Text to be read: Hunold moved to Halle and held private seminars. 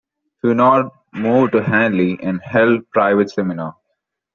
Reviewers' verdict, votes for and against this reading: accepted, 2, 0